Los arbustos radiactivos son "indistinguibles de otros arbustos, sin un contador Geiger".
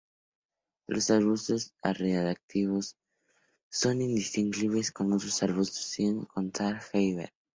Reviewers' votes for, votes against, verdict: 0, 4, rejected